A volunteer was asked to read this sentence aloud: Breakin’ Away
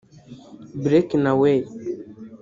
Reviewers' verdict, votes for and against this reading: rejected, 1, 2